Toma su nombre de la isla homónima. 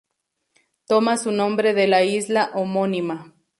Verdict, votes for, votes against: accepted, 4, 0